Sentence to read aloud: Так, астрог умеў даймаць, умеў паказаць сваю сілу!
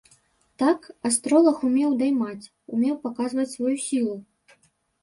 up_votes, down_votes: 0, 2